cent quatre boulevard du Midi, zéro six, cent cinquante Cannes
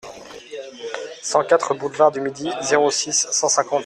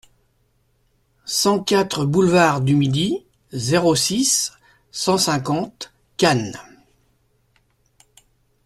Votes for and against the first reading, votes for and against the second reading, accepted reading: 0, 3, 2, 0, second